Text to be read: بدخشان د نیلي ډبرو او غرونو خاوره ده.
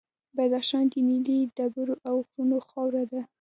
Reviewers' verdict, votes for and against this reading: accepted, 2, 0